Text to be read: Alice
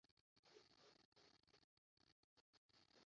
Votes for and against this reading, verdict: 0, 2, rejected